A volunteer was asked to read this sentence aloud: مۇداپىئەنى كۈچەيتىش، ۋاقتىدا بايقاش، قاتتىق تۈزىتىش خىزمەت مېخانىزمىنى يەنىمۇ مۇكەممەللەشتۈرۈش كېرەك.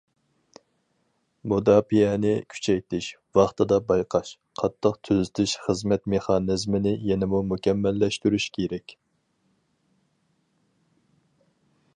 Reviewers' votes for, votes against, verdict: 4, 0, accepted